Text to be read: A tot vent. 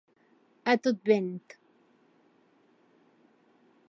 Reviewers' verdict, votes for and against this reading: accepted, 2, 0